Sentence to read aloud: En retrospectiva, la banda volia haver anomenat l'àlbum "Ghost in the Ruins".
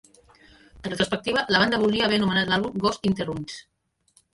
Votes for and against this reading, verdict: 1, 2, rejected